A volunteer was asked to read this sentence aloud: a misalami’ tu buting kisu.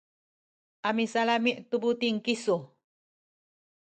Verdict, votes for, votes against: rejected, 1, 2